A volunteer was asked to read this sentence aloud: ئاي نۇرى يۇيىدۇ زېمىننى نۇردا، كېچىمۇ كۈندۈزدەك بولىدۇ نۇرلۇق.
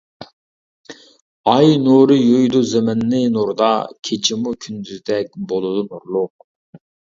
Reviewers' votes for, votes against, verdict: 2, 0, accepted